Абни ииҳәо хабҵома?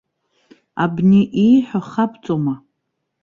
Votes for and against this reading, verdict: 2, 0, accepted